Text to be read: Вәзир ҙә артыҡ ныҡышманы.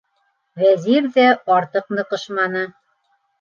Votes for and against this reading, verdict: 3, 0, accepted